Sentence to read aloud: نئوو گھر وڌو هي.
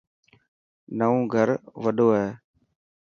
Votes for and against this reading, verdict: 5, 0, accepted